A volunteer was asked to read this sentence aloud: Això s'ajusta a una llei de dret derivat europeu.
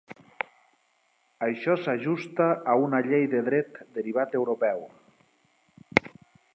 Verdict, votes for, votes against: accepted, 4, 0